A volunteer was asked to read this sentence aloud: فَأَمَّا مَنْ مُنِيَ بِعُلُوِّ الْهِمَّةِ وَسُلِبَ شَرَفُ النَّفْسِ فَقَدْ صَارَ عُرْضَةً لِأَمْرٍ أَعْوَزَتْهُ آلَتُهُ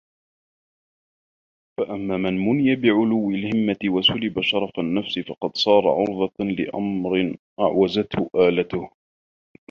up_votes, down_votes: 3, 2